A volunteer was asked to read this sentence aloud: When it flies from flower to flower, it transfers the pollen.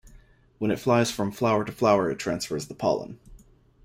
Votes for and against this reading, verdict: 2, 0, accepted